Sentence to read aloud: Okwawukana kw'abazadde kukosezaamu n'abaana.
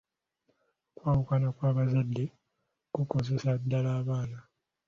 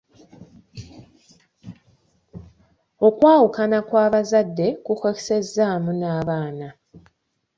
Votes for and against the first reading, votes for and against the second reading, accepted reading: 1, 2, 2, 0, second